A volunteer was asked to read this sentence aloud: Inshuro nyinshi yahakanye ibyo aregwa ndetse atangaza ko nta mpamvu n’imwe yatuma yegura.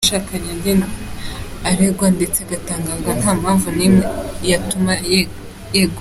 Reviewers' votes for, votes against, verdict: 0, 2, rejected